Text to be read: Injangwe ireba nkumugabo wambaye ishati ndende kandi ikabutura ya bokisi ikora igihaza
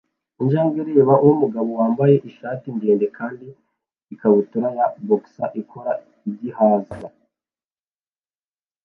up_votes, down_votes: 1, 2